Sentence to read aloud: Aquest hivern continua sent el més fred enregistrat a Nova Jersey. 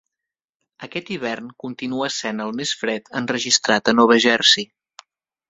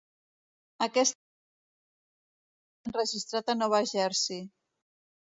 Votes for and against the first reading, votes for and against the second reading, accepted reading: 5, 0, 0, 2, first